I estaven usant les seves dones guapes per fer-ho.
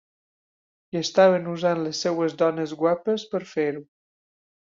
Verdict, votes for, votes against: accepted, 2, 1